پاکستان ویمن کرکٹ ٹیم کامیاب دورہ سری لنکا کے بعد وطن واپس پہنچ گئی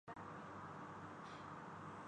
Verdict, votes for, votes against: rejected, 0, 2